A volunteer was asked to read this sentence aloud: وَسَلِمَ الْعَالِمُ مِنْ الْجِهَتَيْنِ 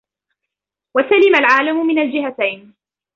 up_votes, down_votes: 2, 0